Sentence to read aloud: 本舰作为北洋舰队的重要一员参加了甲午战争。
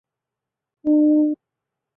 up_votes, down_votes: 0, 3